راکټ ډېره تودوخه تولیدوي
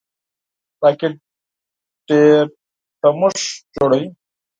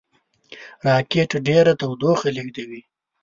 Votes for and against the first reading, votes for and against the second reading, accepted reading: 0, 4, 2, 1, second